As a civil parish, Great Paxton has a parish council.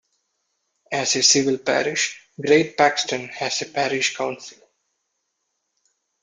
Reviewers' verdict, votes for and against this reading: accepted, 2, 0